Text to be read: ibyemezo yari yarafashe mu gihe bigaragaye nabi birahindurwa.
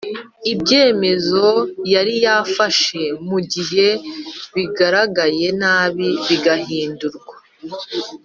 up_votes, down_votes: 1, 2